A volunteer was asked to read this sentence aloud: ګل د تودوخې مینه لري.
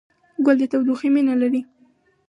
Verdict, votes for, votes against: rejected, 0, 2